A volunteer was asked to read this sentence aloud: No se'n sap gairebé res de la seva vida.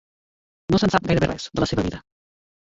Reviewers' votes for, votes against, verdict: 0, 2, rejected